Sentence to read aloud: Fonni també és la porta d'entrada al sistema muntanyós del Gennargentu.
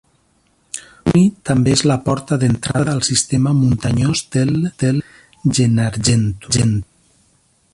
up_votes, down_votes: 0, 2